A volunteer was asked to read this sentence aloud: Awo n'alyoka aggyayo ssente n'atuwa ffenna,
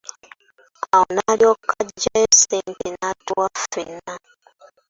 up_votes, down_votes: 1, 2